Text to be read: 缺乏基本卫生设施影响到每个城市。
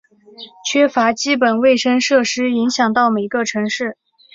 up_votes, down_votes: 3, 1